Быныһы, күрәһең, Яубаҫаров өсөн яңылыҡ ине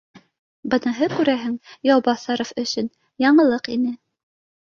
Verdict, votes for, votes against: accepted, 2, 0